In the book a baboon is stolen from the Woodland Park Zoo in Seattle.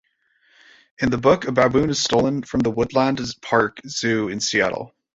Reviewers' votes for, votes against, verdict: 0, 2, rejected